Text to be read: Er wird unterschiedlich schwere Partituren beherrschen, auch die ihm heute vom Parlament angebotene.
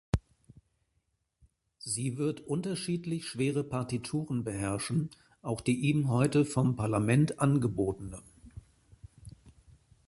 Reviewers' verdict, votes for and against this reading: rejected, 0, 2